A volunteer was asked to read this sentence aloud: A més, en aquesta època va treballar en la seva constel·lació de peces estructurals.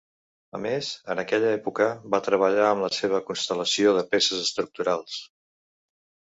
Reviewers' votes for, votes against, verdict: 0, 2, rejected